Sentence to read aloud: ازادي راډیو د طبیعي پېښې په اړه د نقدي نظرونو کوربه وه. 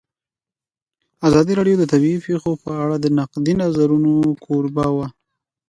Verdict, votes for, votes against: accepted, 2, 1